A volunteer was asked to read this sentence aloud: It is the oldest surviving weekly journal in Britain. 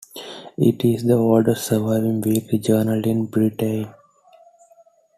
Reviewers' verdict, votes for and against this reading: rejected, 0, 2